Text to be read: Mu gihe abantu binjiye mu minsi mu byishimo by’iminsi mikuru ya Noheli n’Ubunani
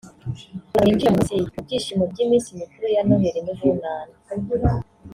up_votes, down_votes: 0, 2